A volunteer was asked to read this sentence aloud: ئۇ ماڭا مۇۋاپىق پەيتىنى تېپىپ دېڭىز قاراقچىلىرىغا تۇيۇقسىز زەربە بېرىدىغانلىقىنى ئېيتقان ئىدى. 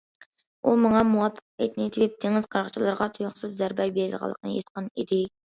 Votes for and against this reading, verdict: 2, 0, accepted